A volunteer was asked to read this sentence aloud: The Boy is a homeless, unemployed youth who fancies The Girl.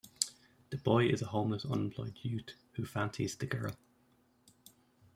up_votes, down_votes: 1, 2